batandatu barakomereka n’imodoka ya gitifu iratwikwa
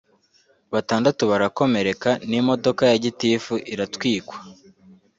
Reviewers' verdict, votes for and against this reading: accepted, 2, 0